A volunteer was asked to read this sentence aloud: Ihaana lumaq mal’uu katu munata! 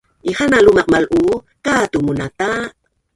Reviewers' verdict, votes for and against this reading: rejected, 1, 2